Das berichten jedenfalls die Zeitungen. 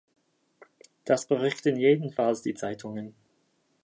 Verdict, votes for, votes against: accepted, 2, 0